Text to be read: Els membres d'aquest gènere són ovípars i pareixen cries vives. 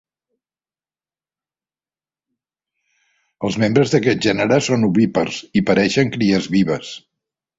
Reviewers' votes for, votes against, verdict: 2, 0, accepted